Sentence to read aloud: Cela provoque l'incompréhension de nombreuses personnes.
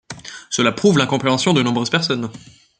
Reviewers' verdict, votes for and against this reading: rejected, 1, 2